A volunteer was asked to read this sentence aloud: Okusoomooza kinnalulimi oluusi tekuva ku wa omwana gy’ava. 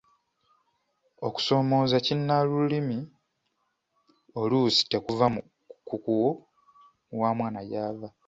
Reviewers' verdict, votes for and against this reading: rejected, 0, 2